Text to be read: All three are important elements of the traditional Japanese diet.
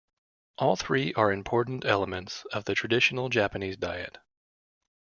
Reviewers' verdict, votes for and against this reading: accepted, 2, 0